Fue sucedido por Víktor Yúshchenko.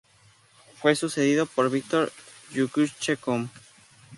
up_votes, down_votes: 0, 2